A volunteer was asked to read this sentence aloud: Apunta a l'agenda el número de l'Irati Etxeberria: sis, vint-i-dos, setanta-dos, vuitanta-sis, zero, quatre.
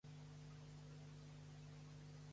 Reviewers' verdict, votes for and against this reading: rejected, 0, 2